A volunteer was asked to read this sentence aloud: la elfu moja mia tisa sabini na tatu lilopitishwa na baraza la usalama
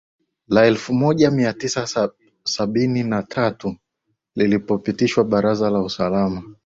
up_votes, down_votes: 0, 2